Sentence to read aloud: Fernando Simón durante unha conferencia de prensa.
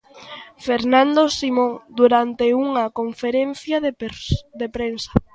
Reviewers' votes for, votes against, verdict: 0, 2, rejected